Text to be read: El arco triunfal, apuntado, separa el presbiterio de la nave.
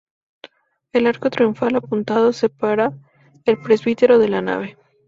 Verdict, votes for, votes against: accepted, 2, 0